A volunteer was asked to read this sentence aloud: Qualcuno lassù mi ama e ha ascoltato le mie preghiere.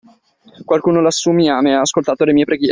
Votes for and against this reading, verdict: 0, 2, rejected